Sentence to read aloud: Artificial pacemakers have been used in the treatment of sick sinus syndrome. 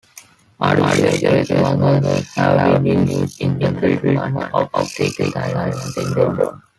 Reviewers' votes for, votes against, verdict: 0, 2, rejected